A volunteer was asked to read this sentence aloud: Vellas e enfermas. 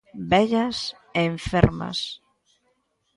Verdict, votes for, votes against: accepted, 2, 0